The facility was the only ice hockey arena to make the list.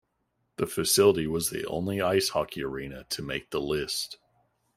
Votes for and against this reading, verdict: 2, 0, accepted